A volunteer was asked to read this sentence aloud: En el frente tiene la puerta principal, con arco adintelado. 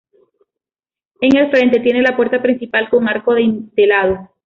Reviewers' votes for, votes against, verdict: 2, 0, accepted